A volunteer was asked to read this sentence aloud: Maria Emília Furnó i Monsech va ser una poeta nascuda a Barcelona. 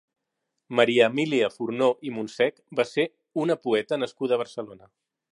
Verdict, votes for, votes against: accepted, 3, 0